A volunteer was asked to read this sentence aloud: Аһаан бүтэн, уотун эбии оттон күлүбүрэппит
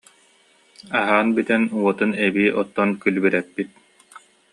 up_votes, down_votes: 2, 0